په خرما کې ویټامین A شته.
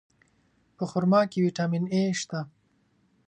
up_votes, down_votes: 3, 0